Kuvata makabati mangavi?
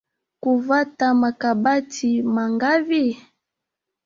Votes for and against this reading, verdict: 0, 2, rejected